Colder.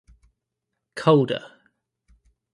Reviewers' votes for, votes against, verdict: 2, 0, accepted